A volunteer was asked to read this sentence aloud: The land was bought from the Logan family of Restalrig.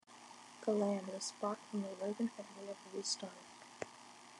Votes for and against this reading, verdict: 1, 2, rejected